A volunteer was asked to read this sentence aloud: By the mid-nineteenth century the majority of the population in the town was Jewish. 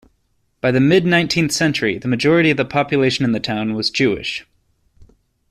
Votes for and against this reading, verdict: 2, 0, accepted